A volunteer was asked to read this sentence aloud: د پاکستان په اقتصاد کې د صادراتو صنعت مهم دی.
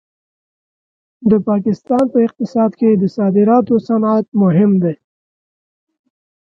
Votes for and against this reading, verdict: 2, 0, accepted